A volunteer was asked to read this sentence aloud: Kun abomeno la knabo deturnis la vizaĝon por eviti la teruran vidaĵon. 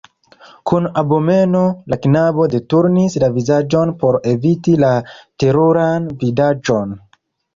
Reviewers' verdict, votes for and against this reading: rejected, 0, 2